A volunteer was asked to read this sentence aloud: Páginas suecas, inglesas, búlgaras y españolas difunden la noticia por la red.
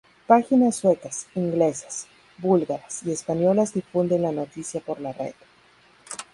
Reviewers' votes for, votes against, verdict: 4, 0, accepted